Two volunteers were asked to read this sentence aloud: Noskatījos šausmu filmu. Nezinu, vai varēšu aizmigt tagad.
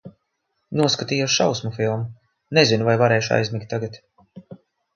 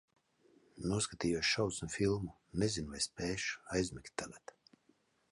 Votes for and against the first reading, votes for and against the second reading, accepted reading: 2, 0, 1, 2, first